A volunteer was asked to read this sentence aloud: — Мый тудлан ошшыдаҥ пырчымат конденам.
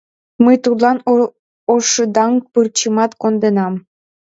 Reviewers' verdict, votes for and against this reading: rejected, 1, 4